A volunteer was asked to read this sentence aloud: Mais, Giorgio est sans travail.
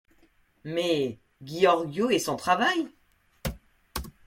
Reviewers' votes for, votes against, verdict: 1, 2, rejected